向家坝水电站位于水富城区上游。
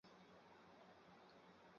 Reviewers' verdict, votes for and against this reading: rejected, 0, 4